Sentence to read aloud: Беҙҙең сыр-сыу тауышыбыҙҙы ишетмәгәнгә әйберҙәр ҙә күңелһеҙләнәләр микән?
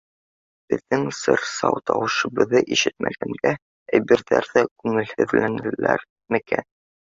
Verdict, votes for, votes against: accepted, 2, 0